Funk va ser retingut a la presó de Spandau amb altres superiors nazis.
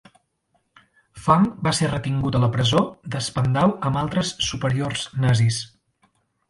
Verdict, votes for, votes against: accepted, 3, 0